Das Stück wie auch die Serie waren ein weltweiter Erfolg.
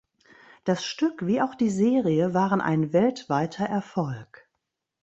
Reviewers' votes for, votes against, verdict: 2, 0, accepted